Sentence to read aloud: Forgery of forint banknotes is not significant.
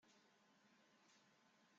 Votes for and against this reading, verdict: 0, 2, rejected